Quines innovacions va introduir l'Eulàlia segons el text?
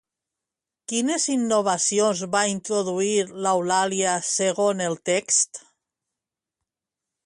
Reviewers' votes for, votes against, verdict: 0, 2, rejected